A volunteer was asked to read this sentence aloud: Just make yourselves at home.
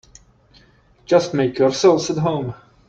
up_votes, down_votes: 2, 0